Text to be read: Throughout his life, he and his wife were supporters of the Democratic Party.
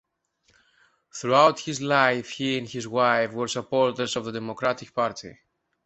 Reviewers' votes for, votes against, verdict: 2, 0, accepted